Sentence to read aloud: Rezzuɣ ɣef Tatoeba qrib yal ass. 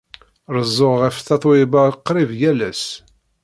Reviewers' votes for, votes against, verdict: 1, 2, rejected